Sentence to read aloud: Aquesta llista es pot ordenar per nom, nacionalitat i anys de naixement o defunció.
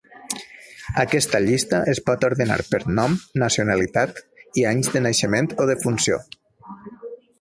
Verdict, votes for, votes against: rejected, 1, 2